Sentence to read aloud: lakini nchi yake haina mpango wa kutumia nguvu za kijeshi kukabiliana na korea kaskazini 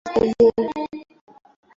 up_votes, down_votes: 0, 2